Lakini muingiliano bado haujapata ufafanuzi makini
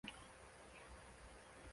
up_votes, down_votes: 0, 2